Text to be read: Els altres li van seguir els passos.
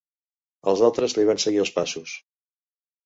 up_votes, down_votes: 2, 0